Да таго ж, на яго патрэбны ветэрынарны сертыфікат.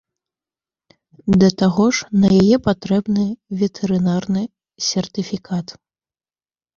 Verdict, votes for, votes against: rejected, 1, 2